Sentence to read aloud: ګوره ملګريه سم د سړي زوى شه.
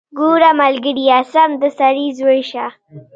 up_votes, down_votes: 2, 1